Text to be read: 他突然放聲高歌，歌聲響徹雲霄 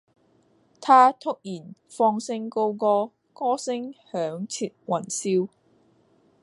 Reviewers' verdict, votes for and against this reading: rejected, 1, 2